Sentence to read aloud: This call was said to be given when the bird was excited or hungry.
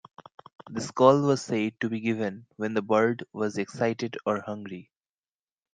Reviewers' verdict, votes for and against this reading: accepted, 2, 1